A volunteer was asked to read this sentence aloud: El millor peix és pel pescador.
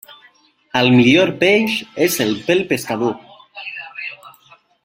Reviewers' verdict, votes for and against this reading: rejected, 1, 2